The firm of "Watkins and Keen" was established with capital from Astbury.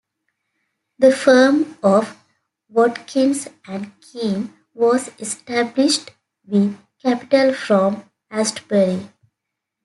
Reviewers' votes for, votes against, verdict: 2, 0, accepted